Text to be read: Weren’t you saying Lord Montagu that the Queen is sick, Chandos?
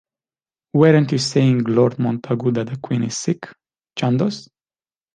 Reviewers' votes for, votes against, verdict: 2, 0, accepted